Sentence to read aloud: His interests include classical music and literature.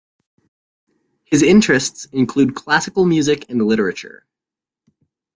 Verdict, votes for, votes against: accepted, 2, 0